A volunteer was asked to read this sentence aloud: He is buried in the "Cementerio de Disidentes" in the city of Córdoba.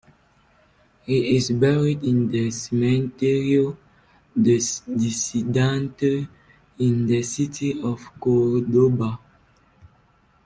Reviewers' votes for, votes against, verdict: 0, 2, rejected